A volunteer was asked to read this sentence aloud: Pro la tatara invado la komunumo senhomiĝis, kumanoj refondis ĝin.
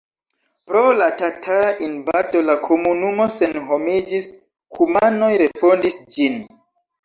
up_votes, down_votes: 2, 3